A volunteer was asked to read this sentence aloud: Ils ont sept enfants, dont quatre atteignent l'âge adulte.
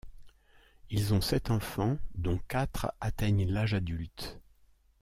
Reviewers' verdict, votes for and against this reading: accepted, 2, 1